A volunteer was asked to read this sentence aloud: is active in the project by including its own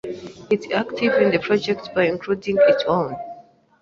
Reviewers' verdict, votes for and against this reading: rejected, 1, 2